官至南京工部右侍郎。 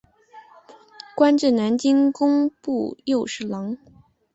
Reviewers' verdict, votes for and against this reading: accepted, 3, 0